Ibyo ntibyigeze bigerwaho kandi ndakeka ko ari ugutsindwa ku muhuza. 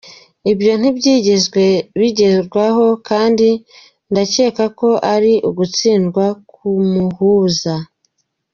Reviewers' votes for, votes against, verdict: 0, 2, rejected